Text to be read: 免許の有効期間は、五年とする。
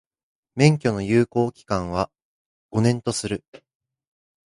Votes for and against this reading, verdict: 1, 2, rejected